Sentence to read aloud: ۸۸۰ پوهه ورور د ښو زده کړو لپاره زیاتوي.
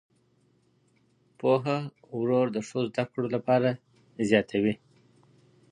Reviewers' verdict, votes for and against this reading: rejected, 0, 2